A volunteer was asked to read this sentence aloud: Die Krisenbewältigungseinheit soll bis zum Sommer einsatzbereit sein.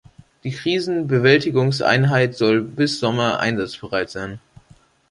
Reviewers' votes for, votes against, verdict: 0, 2, rejected